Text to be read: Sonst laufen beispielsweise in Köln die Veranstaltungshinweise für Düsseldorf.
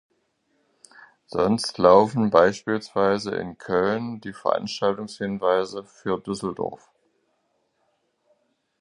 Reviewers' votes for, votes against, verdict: 2, 0, accepted